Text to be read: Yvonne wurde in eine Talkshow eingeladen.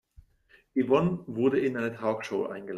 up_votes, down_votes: 0, 2